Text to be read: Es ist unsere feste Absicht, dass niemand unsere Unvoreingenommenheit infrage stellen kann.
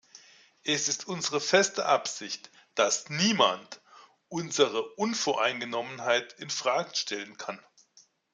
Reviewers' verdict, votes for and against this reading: accepted, 2, 1